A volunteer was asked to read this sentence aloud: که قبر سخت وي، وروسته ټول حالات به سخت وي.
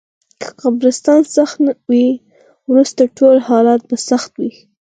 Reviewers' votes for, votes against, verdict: 0, 4, rejected